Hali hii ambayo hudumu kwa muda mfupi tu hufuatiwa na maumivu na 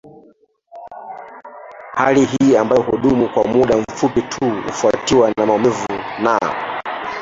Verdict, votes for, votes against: rejected, 0, 2